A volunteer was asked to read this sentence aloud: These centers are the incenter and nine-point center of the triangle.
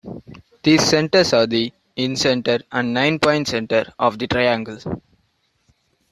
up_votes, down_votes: 2, 0